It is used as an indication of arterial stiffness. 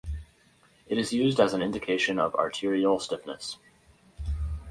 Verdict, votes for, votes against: accepted, 4, 0